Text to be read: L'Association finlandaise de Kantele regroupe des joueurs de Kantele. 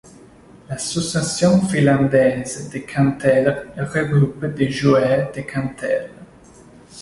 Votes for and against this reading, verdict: 0, 2, rejected